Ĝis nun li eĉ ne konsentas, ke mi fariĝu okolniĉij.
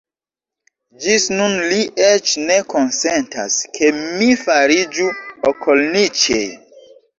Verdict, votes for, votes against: rejected, 0, 2